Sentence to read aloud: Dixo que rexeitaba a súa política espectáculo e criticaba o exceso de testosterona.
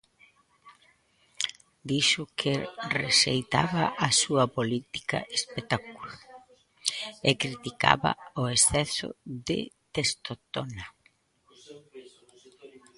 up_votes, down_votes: 0, 2